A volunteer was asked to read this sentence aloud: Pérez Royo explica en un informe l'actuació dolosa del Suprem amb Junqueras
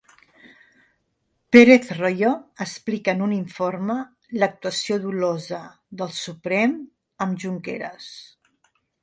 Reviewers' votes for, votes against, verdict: 2, 0, accepted